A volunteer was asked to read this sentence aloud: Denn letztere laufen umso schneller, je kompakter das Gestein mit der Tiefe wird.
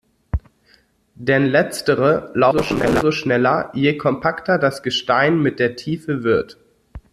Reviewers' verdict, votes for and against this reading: rejected, 0, 2